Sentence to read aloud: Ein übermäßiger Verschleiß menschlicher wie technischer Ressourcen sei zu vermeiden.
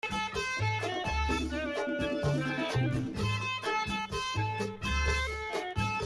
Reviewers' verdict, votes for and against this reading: rejected, 0, 2